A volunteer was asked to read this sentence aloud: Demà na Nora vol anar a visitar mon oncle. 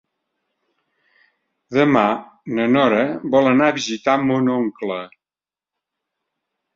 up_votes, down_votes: 4, 0